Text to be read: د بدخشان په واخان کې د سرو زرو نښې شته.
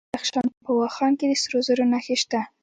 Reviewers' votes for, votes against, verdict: 2, 0, accepted